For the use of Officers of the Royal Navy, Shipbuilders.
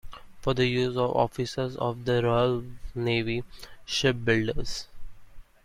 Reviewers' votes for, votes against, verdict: 2, 1, accepted